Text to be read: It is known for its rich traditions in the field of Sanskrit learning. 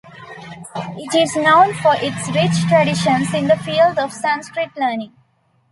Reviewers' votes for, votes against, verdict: 2, 0, accepted